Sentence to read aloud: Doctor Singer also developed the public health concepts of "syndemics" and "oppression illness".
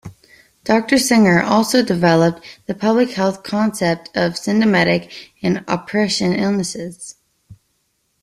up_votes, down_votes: 1, 2